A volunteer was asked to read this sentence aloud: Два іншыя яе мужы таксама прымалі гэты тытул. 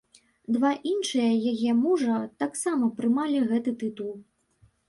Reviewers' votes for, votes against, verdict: 1, 2, rejected